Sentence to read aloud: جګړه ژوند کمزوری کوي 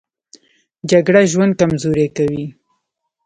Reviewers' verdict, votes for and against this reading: rejected, 0, 2